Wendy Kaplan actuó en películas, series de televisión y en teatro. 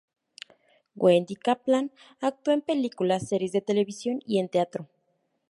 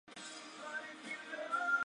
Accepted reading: first